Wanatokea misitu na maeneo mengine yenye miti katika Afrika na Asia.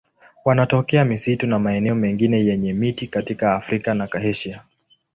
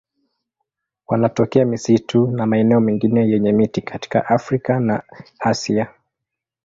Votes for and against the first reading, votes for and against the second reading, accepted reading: 2, 0, 0, 2, first